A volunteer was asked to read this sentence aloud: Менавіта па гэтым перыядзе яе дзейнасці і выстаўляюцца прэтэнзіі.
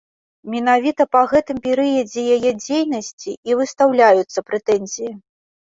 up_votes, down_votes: 2, 0